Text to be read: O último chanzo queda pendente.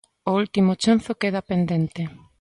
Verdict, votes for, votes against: accepted, 2, 1